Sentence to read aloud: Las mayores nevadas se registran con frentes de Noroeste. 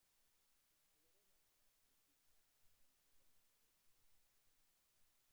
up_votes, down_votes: 0, 2